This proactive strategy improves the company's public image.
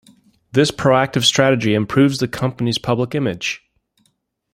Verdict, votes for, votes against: accepted, 2, 1